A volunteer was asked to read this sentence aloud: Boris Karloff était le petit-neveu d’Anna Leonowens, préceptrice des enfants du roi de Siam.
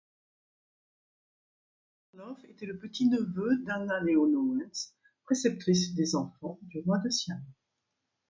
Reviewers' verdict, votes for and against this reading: rejected, 1, 2